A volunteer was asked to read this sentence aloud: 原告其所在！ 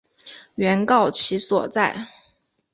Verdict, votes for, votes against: accepted, 2, 1